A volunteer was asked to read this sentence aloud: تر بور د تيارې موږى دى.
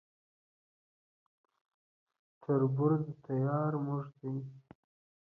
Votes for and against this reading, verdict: 0, 2, rejected